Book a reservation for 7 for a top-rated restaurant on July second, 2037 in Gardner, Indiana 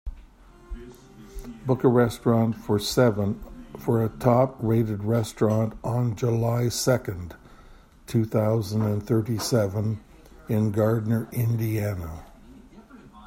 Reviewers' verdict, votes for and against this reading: rejected, 0, 2